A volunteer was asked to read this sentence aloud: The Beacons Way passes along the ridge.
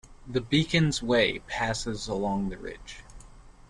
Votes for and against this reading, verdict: 2, 0, accepted